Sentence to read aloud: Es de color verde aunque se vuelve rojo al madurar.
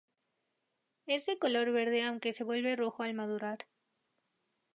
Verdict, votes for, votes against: accepted, 2, 0